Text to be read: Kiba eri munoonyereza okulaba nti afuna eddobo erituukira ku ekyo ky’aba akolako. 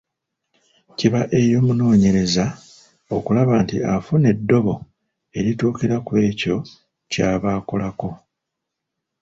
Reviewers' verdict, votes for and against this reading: rejected, 1, 2